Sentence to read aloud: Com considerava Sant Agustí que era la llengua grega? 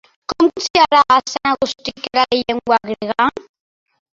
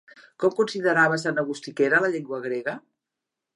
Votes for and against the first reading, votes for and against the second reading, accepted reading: 0, 2, 2, 0, second